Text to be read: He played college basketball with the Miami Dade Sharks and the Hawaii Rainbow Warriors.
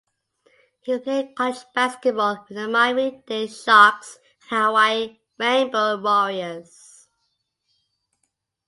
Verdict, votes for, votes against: rejected, 1, 2